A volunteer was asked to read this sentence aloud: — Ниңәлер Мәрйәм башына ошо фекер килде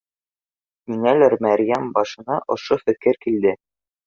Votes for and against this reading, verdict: 2, 0, accepted